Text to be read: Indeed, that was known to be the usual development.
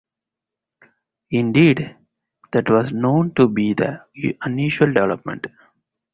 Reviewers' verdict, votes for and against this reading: rejected, 0, 2